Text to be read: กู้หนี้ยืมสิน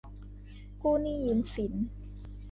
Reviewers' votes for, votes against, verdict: 2, 0, accepted